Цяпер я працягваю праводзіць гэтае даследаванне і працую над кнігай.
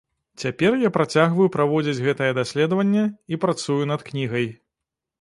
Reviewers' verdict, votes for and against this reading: accepted, 2, 0